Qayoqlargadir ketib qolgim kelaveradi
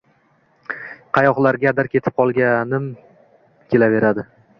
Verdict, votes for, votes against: rejected, 0, 2